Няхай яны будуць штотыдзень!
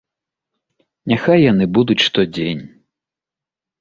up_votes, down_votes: 0, 2